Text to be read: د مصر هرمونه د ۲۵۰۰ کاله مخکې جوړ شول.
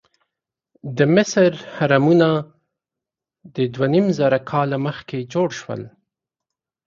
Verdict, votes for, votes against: rejected, 0, 2